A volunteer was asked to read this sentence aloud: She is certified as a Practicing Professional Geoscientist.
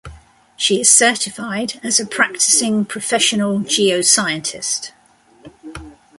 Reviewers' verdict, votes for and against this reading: accepted, 2, 0